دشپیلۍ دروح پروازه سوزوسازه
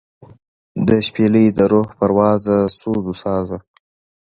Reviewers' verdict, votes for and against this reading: accepted, 2, 0